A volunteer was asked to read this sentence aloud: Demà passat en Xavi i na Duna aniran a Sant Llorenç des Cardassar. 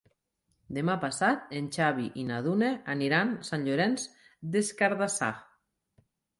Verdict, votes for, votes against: accepted, 2, 0